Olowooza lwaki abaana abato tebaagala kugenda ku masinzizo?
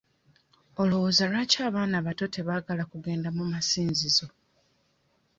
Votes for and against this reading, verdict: 1, 2, rejected